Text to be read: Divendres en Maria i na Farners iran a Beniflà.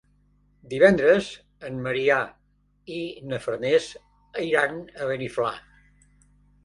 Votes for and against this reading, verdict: 1, 2, rejected